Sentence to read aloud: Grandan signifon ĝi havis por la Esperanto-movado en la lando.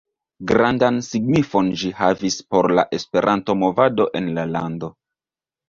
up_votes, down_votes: 2, 0